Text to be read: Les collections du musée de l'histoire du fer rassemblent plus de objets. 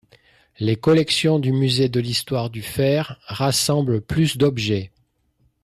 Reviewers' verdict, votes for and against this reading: rejected, 0, 2